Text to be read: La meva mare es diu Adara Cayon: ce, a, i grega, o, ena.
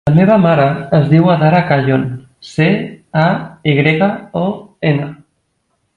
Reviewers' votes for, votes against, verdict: 3, 0, accepted